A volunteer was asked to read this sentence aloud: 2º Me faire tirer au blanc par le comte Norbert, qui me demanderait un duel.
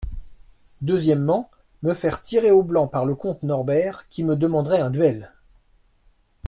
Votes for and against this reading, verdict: 0, 2, rejected